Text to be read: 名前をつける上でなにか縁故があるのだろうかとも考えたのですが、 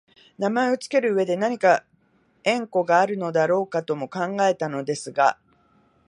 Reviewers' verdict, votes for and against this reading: rejected, 1, 2